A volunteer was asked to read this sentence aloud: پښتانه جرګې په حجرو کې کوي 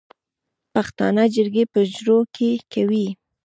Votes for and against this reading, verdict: 2, 0, accepted